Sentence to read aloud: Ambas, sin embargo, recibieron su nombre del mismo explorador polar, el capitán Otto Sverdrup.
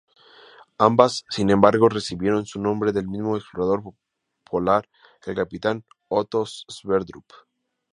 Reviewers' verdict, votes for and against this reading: accepted, 4, 0